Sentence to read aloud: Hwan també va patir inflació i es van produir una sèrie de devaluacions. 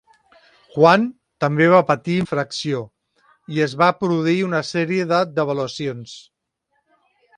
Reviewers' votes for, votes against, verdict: 0, 2, rejected